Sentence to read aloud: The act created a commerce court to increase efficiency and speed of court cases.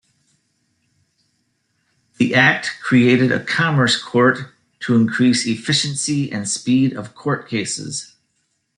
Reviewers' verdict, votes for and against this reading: accepted, 2, 0